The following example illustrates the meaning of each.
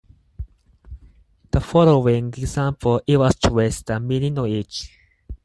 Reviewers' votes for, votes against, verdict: 4, 0, accepted